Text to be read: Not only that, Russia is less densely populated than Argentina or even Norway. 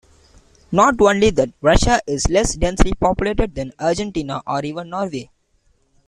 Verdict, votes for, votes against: rejected, 0, 2